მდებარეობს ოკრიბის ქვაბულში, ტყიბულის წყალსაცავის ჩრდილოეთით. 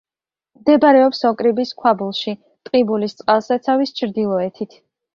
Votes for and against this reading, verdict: 2, 0, accepted